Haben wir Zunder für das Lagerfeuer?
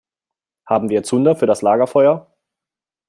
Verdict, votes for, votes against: accepted, 2, 0